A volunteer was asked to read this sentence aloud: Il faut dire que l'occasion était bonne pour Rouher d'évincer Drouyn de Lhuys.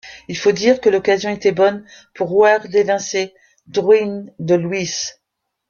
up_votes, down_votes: 0, 2